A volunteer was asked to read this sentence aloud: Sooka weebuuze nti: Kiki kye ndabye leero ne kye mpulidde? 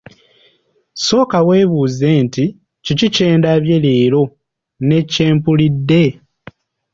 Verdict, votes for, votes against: accepted, 2, 0